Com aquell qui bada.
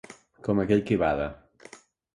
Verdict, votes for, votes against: accepted, 2, 0